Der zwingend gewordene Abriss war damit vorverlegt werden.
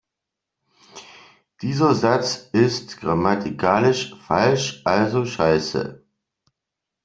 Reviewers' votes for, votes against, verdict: 0, 2, rejected